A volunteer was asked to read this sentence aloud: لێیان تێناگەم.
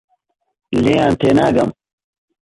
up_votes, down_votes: 2, 0